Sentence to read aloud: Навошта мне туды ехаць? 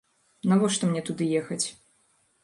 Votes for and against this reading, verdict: 2, 0, accepted